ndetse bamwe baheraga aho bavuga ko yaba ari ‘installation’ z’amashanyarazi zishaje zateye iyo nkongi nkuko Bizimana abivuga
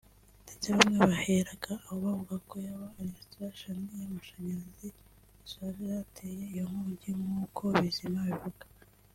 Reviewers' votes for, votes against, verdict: 0, 2, rejected